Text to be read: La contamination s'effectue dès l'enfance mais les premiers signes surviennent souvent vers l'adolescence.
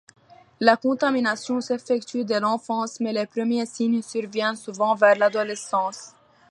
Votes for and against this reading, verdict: 2, 1, accepted